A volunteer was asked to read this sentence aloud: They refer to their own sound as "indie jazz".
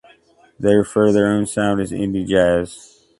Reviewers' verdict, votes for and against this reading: rejected, 0, 2